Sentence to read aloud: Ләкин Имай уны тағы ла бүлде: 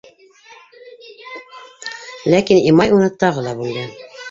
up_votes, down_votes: 0, 2